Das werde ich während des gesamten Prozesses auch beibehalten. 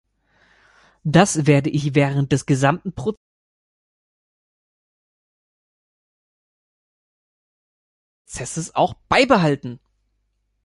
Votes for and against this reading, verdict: 1, 2, rejected